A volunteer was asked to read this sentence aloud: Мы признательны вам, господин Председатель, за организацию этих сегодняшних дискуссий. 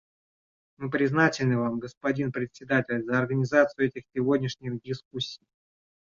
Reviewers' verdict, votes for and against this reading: rejected, 1, 2